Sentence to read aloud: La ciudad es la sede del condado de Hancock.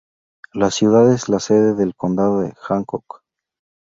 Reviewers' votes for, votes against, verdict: 4, 0, accepted